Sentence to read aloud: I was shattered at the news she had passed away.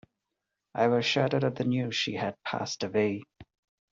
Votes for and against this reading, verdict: 2, 0, accepted